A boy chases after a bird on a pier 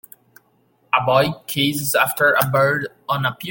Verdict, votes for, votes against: rejected, 0, 2